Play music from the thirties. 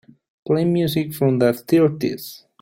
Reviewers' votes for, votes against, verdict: 2, 1, accepted